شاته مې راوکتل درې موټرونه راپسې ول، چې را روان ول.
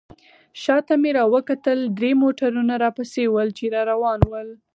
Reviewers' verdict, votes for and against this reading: rejected, 2, 4